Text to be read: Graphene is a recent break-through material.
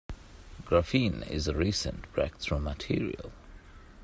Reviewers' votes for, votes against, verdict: 2, 0, accepted